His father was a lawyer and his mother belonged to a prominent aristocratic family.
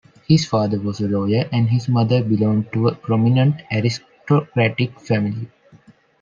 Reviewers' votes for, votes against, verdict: 2, 0, accepted